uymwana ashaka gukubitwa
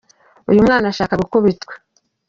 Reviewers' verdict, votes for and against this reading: rejected, 1, 2